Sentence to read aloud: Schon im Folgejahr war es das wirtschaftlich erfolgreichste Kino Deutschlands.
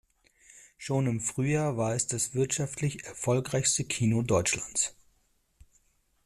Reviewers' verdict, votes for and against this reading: rejected, 0, 2